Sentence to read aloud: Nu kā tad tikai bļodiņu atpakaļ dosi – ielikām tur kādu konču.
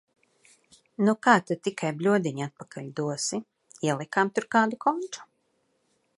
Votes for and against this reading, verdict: 2, 0, accepted